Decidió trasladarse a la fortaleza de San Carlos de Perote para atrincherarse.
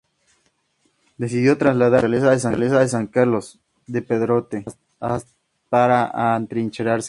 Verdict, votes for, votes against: rejected, 0, 2